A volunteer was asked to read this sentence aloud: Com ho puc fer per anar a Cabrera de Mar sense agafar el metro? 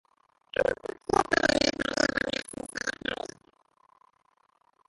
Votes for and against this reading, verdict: 0, 2, rejected